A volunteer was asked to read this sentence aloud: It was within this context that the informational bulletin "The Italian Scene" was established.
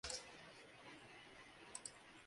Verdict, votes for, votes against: rejected, 0, 2